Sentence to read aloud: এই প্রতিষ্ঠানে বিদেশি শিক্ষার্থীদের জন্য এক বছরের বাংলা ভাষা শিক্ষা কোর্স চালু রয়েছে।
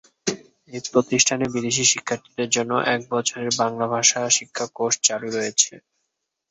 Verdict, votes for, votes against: accepted, 2, 0